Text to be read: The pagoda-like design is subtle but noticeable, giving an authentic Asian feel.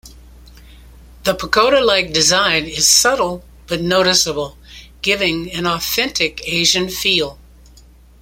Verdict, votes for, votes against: accepted, 2, 0